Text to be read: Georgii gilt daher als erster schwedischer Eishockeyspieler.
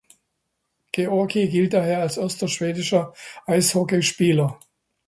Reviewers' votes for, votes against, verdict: 2, 0, accepted